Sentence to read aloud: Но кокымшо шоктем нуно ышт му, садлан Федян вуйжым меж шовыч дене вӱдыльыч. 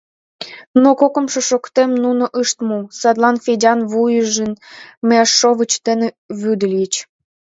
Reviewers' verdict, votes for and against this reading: rejected, 0, 2